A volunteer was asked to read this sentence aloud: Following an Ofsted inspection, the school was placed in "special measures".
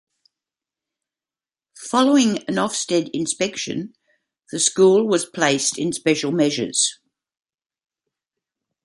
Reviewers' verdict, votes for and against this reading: accepted, 2, 0